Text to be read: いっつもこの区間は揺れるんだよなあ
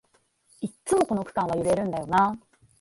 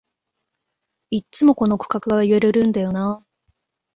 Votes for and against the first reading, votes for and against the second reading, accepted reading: 2, 0, 0, 2, first